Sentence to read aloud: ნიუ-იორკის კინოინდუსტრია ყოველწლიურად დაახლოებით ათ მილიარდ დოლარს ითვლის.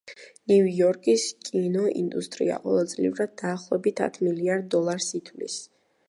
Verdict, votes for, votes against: rejected, 1, 2